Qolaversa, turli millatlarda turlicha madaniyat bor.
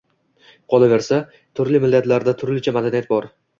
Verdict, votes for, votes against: accepted, 2, 0